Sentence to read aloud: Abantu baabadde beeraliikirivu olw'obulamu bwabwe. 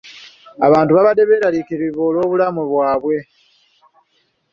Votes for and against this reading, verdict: 2, 0, accepted